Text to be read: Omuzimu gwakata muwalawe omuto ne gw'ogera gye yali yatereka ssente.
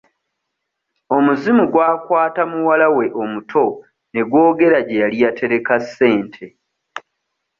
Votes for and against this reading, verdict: 2, 0, accepted